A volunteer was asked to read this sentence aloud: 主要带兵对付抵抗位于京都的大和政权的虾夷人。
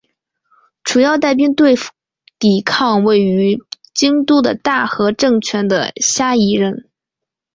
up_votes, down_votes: 2, 3